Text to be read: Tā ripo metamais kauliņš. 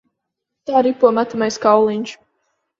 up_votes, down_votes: 3, 0